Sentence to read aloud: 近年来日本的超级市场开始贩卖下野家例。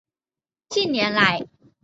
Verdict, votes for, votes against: rejected, 0, 3